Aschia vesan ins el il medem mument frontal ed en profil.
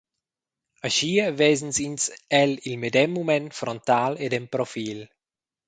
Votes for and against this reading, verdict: 0, 2, rejected